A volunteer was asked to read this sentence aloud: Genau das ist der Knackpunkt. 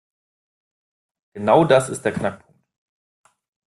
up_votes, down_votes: 1, 2